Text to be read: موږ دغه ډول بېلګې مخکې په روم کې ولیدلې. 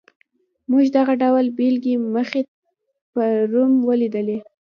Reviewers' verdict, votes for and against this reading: rejected, 1, 2